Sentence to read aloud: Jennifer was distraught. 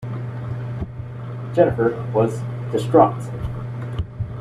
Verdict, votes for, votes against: accepted, 2, 0